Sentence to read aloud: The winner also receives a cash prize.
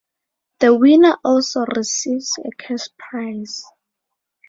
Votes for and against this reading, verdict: 2, 0, accepted